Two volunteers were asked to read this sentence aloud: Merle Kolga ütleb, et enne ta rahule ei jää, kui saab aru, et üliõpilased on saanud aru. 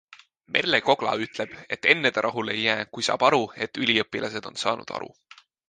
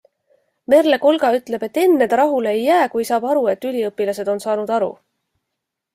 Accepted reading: second